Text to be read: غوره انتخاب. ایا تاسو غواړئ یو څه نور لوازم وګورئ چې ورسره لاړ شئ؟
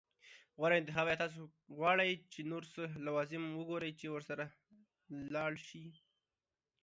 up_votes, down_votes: 2, 1